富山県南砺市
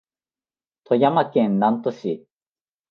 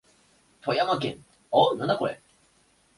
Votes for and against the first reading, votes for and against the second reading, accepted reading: 2, 0, 0, 2, first